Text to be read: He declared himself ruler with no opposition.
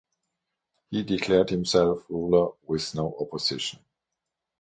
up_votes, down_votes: 6, 0